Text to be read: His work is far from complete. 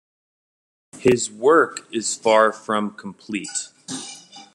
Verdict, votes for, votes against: accepted, 2, 0